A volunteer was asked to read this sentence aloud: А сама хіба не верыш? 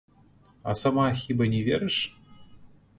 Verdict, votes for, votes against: rejected, 0, 2